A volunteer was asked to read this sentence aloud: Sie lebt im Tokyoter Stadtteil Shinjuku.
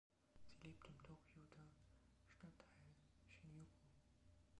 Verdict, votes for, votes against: rejected, 0, 2